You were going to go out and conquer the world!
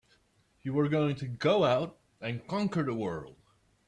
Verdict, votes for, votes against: accepted, 2, 0